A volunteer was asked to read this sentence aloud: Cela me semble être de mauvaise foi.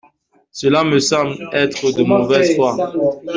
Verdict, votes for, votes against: rejected, 1, 2